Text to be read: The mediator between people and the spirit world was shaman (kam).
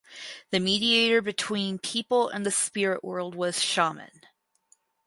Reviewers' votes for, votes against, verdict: 2, 4, rejected